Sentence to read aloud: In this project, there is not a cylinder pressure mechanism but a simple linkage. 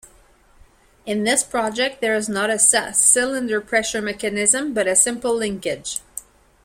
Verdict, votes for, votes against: rejected, 0, 2